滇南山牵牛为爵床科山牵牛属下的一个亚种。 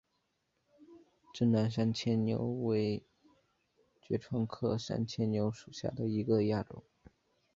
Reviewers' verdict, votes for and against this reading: accepted, 2, 1